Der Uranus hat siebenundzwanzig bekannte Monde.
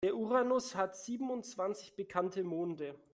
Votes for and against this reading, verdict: 2, 0, accepted